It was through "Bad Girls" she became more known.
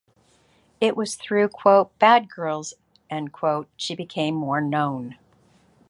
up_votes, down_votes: 1, 2